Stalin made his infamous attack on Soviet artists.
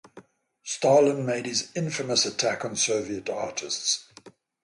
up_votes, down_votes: 0, 3